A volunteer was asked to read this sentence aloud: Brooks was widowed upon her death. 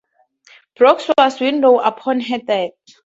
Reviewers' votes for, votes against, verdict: 0, 4, rejected